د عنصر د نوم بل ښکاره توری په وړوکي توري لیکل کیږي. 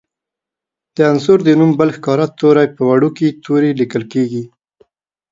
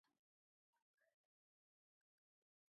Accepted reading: first